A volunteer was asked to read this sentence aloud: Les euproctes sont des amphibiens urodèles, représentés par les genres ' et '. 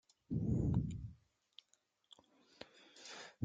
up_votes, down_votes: 0, 2